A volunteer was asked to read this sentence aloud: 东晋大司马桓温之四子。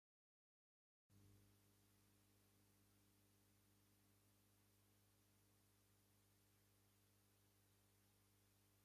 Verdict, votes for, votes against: rejected, 0, 2